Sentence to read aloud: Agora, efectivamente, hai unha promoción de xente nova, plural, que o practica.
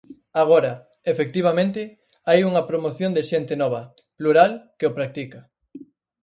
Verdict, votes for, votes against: accepted, 4, 0